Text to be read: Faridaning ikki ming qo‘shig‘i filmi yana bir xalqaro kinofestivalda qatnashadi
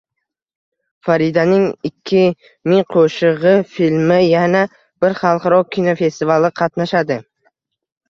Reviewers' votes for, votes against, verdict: 2, 0, accepted